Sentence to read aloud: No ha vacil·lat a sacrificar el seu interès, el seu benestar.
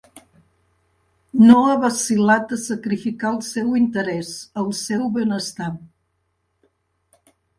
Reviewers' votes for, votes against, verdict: 2, 1, accepted